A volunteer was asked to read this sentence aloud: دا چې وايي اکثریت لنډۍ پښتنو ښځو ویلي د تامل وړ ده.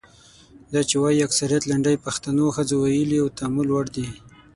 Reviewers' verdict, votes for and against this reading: accepted, 6, 0